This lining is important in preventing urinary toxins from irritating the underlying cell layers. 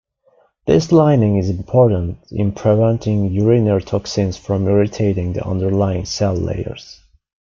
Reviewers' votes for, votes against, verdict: 1, 2, rejected